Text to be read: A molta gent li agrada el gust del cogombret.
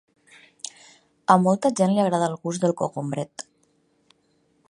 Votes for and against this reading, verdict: 2, 0, accepted